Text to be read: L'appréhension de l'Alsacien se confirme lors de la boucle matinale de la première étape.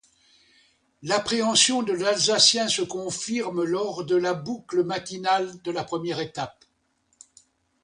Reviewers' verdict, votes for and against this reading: accepted, 2, 0